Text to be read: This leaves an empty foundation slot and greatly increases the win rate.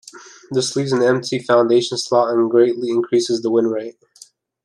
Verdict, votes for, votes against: accepted, 2, 0